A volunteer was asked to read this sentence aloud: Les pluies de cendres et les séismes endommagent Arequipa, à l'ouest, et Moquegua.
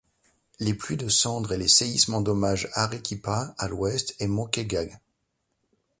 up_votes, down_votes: 1, 2